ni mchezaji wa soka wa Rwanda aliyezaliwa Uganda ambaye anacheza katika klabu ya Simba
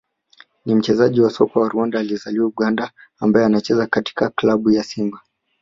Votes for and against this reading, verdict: 2, 0, accepted